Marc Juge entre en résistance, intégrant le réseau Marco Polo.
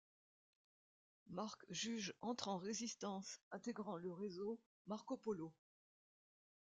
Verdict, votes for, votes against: rejected, 1, 2